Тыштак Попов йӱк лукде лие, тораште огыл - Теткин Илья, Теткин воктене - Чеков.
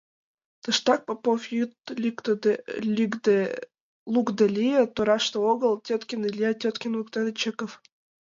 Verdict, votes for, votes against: rejected, 0, 2